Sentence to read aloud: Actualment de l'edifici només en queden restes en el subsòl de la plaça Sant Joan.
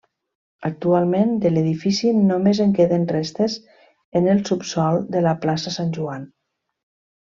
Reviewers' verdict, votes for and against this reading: accepted, 3, 0